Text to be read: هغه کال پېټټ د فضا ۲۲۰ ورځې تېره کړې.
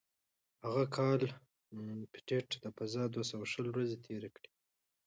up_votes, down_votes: 0, 2